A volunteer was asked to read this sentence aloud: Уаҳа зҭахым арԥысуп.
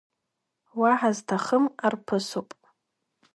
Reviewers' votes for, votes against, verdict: 2, 0, accepted